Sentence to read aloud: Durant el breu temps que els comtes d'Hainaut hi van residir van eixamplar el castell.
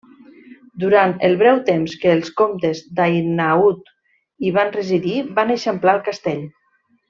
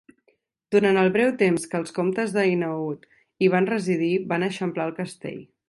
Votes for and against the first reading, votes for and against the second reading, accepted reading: 0, 2, 2, 0, second